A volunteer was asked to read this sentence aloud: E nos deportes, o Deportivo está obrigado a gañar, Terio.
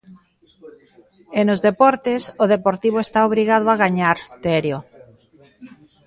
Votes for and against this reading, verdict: 1, 2, rejected